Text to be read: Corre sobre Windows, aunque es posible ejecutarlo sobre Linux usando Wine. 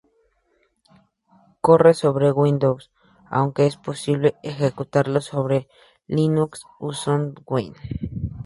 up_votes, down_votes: 2, 0